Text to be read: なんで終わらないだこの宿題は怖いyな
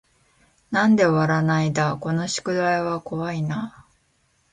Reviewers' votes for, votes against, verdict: 2, 0, accepted